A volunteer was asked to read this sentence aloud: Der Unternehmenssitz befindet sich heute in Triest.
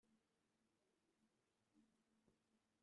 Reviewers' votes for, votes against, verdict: 0, 2, rejected